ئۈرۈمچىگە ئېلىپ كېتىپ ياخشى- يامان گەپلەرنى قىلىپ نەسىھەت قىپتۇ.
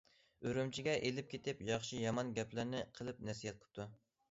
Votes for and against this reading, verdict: 2, 0, accepted